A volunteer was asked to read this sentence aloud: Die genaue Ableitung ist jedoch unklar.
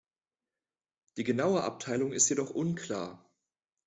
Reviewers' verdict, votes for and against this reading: rejected, 1, 2